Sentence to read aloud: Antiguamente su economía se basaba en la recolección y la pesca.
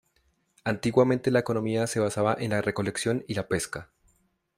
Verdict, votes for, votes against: rejected, 1, 2